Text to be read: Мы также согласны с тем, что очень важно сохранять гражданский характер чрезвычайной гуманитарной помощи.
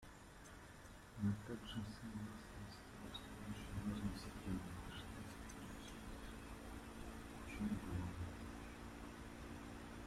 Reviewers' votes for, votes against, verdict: 0, 2, rejected